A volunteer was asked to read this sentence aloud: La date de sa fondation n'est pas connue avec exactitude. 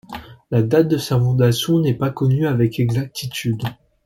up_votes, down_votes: 2, 1